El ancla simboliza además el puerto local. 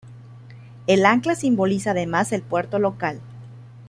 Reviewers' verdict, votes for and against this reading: accepted, 2, 0